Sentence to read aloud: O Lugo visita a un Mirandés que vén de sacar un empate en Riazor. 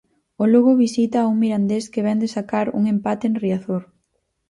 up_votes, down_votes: 4, 0